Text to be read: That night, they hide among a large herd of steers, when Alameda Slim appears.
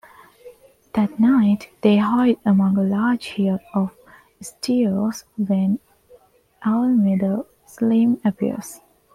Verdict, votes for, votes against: rejected, 0, 2